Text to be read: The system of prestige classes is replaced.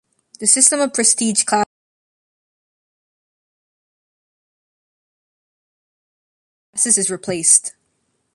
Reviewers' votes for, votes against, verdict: 0, 2, rejected